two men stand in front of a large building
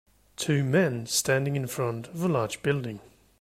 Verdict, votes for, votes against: rejected, 0, 2